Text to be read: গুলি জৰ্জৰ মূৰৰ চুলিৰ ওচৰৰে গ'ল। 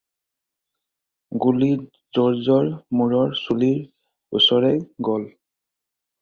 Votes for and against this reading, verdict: 0, 4, rejected